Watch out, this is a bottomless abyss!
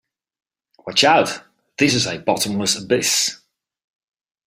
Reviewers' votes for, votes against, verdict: 2, 0, accepted